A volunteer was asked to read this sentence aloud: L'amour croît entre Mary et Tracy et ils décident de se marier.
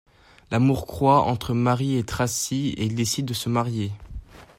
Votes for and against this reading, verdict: 2, 0, accepted